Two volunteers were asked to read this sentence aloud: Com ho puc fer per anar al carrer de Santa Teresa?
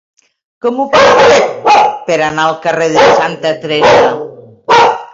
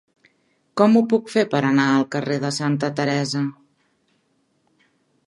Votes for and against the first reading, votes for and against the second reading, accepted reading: 0, 2, 3, 0, second